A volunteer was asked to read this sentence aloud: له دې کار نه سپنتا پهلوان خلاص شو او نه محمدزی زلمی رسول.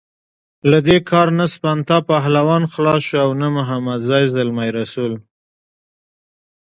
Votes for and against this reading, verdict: 2, 0, accepted